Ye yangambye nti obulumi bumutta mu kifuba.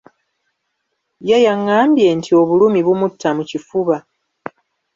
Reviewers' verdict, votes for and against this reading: rejected, 1, 2